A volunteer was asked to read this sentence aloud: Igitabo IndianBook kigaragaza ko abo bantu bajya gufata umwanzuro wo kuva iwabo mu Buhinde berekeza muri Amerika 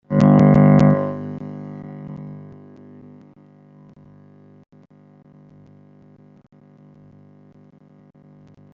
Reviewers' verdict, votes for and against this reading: rejected, 0, 3